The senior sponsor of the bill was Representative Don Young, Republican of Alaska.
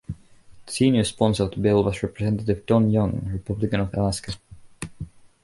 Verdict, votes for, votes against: rejected, 0, 2